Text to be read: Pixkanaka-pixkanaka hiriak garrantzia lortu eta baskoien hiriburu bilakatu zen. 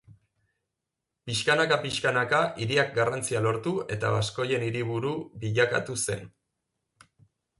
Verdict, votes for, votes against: accepted, 3, 0